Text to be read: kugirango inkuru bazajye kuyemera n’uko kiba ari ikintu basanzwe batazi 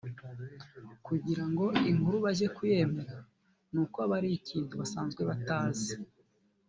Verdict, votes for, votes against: accepted, 2, 0